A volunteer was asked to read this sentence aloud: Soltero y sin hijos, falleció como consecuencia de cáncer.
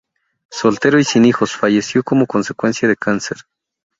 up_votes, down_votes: 2, 0